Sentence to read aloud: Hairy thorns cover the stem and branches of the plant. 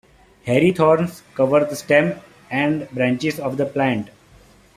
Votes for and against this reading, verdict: 2, 1, accepted